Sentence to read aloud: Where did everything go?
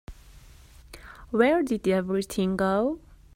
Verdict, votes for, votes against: accepted, 2, 1